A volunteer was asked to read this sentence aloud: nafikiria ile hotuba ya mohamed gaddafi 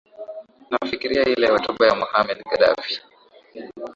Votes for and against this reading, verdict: 2, 0, accepted